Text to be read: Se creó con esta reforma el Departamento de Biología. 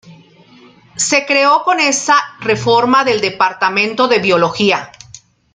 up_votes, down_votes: 1, 2